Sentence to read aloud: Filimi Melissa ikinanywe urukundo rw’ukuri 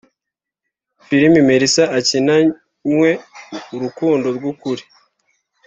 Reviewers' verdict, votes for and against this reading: rejected, 0, 2